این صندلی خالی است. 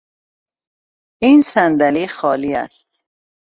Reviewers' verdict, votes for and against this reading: accepted, 2, 0